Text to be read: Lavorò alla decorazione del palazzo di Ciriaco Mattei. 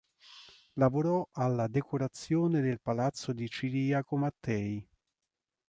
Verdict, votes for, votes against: accepted, 3, 0